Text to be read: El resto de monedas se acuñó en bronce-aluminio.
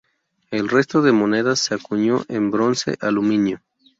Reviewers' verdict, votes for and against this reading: rejected, 0, 2